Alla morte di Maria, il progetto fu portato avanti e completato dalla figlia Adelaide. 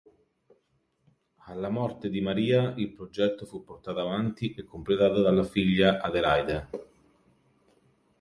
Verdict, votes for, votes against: accepted, 3, 0